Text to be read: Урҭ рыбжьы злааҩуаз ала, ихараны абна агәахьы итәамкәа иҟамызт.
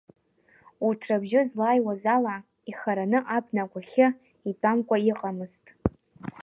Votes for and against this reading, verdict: 0, 2, rejected